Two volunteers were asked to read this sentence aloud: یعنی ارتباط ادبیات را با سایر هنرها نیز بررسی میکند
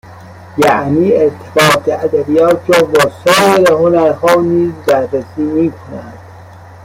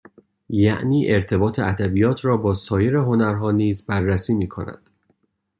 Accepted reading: second